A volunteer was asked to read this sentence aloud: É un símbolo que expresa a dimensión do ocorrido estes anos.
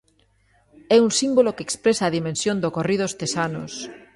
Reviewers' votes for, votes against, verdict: 1, 2, rejected